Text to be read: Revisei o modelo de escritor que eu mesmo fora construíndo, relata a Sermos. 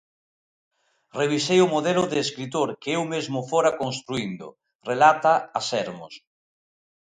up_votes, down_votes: 2, 0